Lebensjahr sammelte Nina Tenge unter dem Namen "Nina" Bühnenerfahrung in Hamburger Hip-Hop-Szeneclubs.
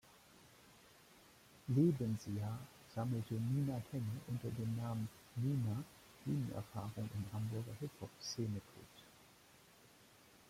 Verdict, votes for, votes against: rejected, 1, 2